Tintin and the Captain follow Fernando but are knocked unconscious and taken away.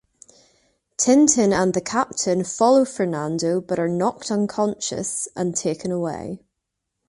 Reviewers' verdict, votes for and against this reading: accepted, 2, 0